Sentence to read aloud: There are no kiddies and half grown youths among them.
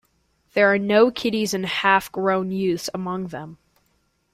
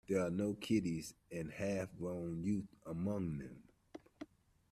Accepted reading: first